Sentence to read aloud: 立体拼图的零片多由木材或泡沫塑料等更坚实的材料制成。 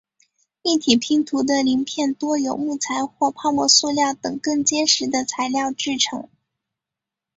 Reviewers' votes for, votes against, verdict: 6, 0, accepted